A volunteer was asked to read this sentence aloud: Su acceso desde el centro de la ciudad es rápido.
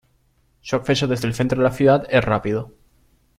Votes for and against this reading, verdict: 2, 0, accepted